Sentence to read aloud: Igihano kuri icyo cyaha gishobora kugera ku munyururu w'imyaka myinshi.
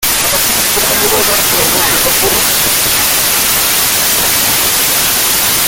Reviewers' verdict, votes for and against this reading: rejected, 0, 2